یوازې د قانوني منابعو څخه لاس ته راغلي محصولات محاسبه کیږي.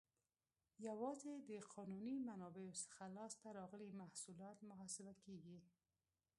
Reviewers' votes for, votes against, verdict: 2, 0, accepted